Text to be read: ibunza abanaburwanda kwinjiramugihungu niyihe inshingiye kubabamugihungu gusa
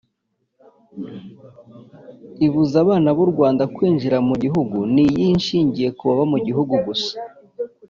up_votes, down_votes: 0, 2